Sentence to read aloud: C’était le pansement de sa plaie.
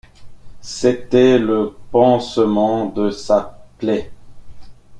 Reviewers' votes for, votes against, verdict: 1, 2, rejected